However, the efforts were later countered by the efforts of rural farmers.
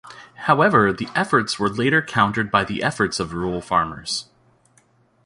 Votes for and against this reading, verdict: 2, 0, accepted